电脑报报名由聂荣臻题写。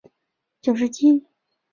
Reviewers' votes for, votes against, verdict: 0, 2, rejected